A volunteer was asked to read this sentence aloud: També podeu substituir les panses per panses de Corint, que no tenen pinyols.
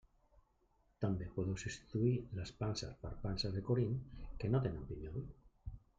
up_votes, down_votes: 1, 2